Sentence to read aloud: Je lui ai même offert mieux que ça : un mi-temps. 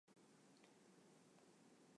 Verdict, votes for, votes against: rejected, 0, 2